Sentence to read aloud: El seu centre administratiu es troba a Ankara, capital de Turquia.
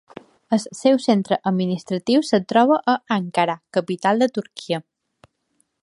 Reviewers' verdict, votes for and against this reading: accepted, 2, 0